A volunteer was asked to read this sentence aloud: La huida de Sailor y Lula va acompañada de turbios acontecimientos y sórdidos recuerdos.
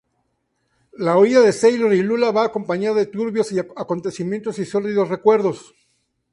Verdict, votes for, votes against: rejected, 0, 2